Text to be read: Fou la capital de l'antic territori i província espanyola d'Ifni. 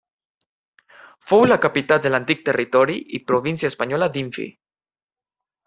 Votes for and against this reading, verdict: 1, 2, rejected